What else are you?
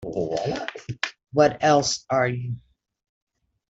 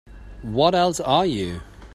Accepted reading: second